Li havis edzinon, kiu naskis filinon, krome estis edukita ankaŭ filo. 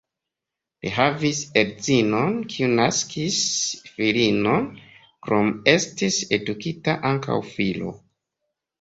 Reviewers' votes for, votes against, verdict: 2, 1, accepted